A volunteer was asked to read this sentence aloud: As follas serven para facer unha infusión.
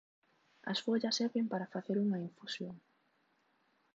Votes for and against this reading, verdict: 2, 1, accepted